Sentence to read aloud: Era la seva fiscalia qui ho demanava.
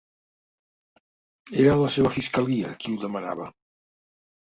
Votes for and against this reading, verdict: 3, 0, accepted